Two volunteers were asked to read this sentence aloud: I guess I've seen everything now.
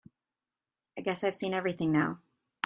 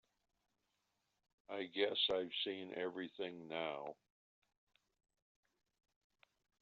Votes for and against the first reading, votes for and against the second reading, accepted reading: 3, 0, 1, 2, first